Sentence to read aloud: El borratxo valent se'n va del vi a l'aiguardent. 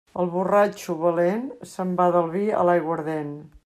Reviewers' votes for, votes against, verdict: 2, 0, accepted